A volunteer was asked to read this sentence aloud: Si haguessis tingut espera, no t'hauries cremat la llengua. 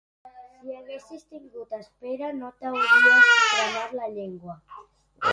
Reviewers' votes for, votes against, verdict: 1, 3, rejected